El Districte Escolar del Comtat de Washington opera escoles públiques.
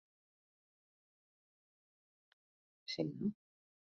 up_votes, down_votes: 0, 2